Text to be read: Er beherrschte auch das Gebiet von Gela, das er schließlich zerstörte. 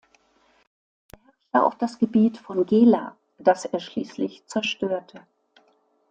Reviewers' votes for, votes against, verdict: 1, 2, rejected